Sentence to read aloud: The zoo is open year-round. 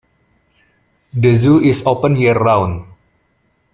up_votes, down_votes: 0, 2